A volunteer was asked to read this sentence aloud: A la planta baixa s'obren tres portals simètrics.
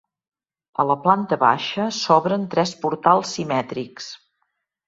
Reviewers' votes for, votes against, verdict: 2, 0, accepted